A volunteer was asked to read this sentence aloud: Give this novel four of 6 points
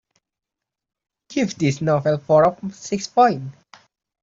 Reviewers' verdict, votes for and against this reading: rejected, 0, 2